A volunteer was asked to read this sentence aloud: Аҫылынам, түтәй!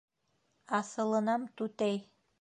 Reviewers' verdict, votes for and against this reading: accepted, 2, 0